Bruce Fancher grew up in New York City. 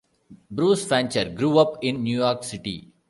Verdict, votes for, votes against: accepted, 2, 0